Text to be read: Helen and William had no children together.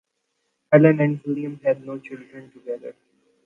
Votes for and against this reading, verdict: 2, 0, accepted